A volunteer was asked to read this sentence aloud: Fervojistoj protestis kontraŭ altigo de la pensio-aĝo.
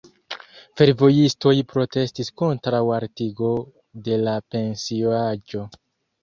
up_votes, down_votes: 2, 1